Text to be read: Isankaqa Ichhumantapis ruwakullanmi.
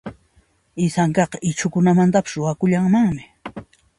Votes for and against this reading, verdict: 2, 0, accepted